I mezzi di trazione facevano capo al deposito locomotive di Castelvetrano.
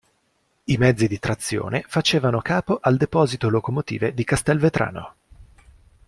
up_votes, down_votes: 2, 0